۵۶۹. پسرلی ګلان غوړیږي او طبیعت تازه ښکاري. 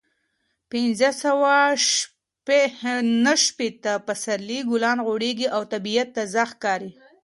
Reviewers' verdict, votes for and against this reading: rejected, 0, 2